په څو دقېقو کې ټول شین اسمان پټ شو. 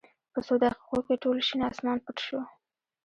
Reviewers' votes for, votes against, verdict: 2, 0, accepted